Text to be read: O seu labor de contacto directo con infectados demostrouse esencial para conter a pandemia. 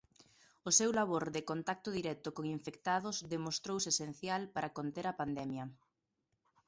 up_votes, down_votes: 2, 0